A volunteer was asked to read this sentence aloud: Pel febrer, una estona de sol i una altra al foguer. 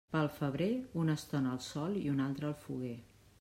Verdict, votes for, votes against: rejected, 0, 2